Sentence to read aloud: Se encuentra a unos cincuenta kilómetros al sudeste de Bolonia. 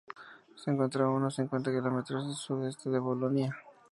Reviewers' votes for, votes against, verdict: 2, 0, accepted